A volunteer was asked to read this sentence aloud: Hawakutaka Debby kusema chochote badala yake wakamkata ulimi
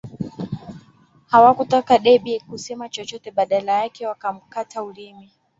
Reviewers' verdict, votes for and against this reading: accepted, 2, 1